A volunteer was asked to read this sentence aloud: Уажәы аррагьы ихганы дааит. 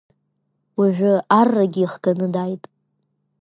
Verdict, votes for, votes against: accepted, 2, 0